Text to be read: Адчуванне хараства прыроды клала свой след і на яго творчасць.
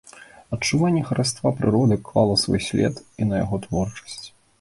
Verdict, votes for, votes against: accepted, 3, 0